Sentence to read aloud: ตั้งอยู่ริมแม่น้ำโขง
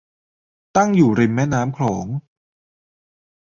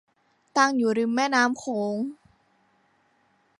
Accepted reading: second